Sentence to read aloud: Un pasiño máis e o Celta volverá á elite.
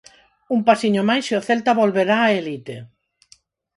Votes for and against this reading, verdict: 2, 4, rejected